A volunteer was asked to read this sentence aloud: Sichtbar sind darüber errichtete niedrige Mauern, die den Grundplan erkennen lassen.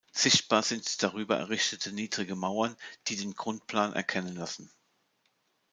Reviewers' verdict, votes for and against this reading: rejected, 1, 2